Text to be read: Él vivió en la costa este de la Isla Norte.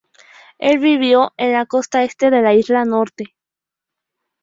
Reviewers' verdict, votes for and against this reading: accepted, 2, 0